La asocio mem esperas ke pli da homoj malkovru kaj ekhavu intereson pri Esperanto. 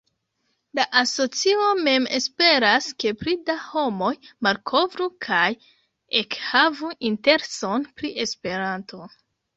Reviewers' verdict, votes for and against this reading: rejected, 0, 2